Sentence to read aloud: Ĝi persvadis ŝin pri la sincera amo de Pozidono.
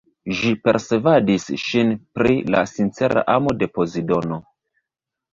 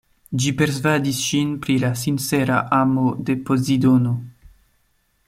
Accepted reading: second